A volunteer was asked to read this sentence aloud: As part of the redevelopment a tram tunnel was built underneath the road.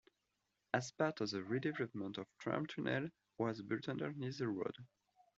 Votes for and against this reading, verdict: 1, 2, rejected